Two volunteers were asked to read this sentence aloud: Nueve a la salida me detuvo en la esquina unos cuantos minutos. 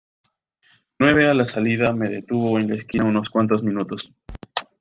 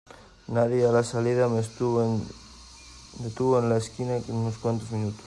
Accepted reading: first